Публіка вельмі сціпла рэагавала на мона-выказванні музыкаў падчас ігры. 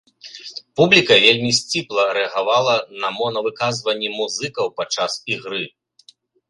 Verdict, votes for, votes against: accepted, 2, 0